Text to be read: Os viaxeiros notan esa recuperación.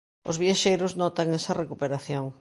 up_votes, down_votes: 2, 0